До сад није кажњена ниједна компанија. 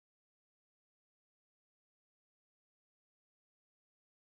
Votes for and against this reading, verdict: 0, 2, rejected